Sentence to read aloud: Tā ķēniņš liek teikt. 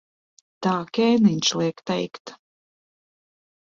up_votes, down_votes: 0, 2